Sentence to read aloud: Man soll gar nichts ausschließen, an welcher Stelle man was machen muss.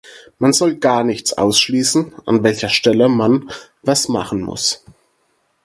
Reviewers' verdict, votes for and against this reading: accepted, 4, 0